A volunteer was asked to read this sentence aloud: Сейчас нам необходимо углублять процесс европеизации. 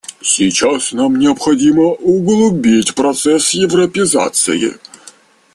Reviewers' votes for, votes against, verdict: 0, 2, rejected